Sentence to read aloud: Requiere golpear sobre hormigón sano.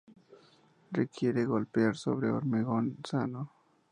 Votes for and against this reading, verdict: 2, 0, accepted